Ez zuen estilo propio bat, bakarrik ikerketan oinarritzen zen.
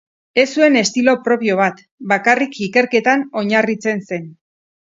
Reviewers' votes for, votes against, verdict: 4, 0, accepted